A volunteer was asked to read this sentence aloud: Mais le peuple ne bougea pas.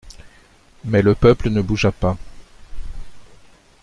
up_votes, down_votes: 2, 0